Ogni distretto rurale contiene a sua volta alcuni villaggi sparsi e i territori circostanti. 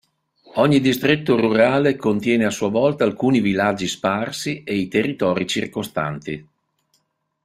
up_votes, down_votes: 2, 1